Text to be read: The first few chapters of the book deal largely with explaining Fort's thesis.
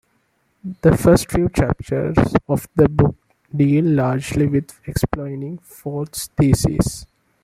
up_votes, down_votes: 1, 2